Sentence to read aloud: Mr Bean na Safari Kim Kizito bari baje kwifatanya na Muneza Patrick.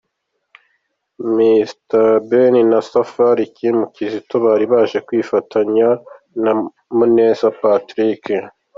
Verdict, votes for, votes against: accepted, 2, 0